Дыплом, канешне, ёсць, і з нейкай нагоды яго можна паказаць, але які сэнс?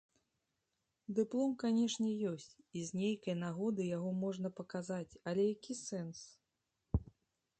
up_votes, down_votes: 2, 0